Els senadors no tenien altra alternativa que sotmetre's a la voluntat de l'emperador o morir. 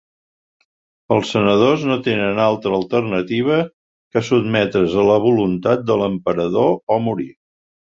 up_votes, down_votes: 0, 2